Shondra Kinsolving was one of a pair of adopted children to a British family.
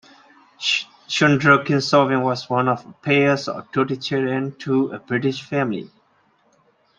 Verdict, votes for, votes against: rejected, 0, 2